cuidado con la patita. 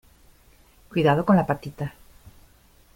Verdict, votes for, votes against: accepted, 2, 0